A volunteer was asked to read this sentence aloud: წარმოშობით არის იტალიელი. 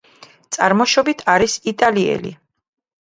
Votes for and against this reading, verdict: 2, 0, accepted